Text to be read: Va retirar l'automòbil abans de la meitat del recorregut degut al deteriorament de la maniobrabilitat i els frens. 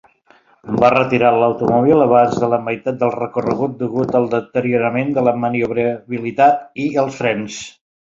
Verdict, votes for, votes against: accepted, 3, 0